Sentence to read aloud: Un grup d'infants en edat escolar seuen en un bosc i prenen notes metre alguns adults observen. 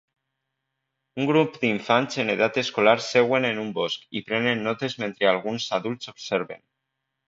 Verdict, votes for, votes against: accepted, 2, 0